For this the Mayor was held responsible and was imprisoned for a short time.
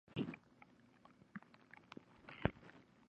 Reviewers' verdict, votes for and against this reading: rejected, 1, 2